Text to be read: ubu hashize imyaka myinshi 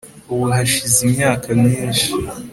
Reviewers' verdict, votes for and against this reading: accepted, 2, 0